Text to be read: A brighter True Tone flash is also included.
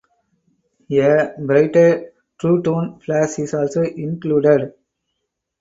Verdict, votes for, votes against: rejected, 0, 4